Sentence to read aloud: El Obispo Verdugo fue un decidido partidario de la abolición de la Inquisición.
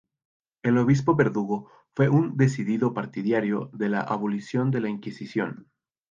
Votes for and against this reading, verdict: 0, 2, rejected